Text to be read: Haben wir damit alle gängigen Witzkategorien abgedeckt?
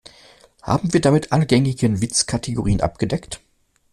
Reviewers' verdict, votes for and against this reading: accepted, 2, 0